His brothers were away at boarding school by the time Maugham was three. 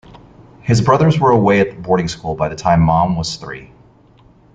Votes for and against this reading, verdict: 2, 1, accepted